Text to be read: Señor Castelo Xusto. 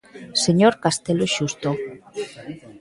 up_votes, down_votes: 1, 2